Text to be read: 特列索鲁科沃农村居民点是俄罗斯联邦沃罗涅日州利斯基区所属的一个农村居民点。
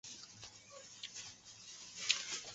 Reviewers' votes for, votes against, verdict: 0, 3, rejected